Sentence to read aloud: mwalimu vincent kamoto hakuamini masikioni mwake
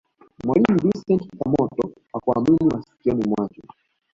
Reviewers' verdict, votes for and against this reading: rejected, 0, 2